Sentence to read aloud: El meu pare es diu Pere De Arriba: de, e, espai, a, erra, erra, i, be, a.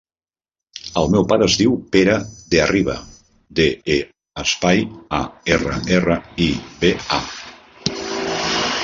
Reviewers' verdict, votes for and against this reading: accepted, 2, 0